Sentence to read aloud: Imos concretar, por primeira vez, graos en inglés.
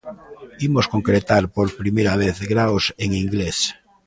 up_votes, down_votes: 0, 2